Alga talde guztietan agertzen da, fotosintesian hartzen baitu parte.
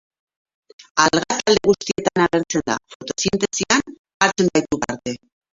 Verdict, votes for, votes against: rejected, 0, 4